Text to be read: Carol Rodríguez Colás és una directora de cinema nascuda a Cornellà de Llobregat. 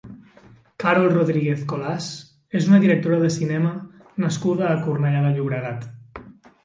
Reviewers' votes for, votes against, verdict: 2, 0, accepted